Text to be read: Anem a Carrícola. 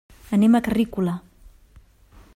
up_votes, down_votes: 2, 0